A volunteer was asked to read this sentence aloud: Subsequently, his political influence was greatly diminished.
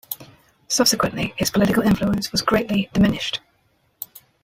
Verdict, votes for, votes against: accepted, 2, 0